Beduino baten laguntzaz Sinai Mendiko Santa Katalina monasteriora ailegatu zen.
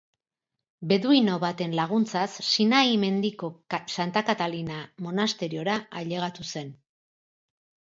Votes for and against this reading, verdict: 4, 2, accepted